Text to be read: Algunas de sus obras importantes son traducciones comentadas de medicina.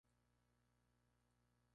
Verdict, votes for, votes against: rejected, 0, 4